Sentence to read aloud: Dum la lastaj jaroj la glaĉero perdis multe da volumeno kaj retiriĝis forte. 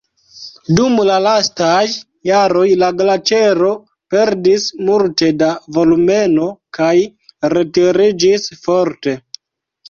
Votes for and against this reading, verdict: 2, 0, accepted